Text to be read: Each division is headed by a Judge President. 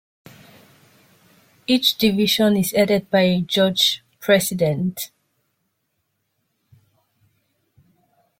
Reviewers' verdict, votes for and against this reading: accepted, 2, 1